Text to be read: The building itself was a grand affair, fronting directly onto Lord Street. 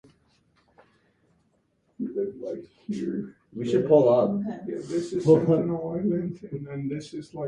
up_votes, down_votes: 0, 4